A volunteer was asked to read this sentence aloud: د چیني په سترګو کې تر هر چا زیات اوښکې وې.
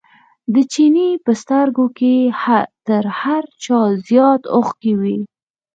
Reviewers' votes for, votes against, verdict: 4, 0, accepted